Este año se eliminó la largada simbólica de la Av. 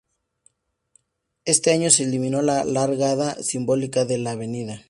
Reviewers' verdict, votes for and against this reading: accepted, 2, 0